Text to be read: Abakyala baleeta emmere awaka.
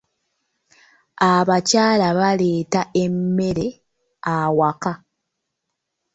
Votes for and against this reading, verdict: 1, 2, rejected